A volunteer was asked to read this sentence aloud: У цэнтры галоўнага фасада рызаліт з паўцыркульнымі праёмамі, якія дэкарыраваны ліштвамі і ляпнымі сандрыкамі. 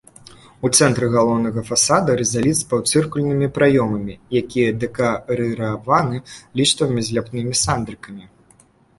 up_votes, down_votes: 0, 2